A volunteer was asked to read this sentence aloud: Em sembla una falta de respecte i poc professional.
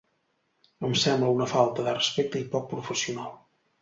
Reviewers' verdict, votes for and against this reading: accepted, 3, 0